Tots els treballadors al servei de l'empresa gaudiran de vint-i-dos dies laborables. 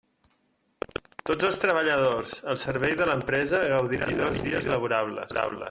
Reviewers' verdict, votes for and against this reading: rejected, 0, 2